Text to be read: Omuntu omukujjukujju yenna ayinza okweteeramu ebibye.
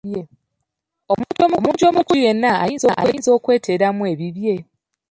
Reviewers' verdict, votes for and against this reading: rejected, 0, 2